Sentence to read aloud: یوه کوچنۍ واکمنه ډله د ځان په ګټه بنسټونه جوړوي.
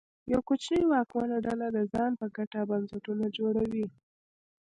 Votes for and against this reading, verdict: 2, 0, accepted